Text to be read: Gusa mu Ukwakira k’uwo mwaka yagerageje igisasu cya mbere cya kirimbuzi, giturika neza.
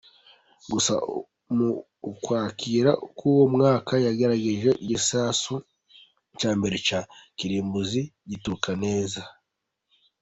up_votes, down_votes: 0, 3